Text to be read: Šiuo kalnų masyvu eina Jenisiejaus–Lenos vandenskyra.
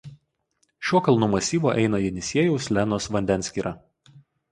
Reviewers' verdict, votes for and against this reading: accepted, 4, 0